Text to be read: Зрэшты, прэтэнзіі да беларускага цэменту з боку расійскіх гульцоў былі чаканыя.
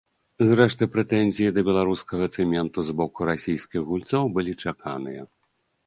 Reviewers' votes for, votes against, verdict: 2, 0, accepted